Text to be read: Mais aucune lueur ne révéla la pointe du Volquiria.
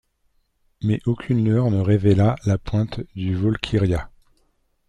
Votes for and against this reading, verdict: 2, 0, accepted